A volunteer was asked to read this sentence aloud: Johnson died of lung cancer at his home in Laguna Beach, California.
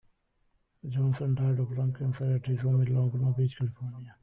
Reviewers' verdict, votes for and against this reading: rejected, 0, 2